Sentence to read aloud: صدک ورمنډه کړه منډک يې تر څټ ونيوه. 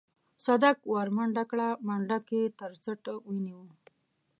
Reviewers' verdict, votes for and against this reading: accepted, 2, 0